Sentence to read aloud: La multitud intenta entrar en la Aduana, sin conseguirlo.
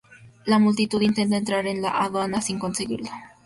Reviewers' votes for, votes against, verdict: 0, 2, rejected